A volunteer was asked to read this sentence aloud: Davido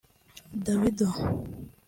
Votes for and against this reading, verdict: 2, 1, accepted